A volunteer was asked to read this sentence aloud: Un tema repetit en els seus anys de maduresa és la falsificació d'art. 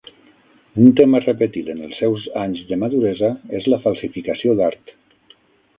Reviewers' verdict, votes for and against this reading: accepted, 9, 0